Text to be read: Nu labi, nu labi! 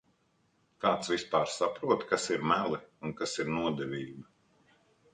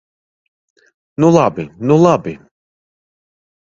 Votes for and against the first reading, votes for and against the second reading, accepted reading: 0, 2, 2, 0, second